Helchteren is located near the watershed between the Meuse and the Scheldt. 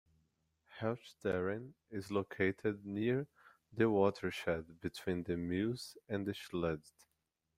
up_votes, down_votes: 2, 0